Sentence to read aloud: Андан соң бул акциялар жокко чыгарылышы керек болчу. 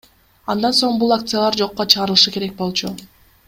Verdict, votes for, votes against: accepted, 3, 0